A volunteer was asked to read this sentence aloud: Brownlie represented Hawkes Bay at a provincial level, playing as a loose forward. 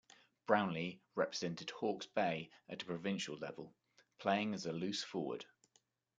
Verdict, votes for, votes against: accepted, 2, 0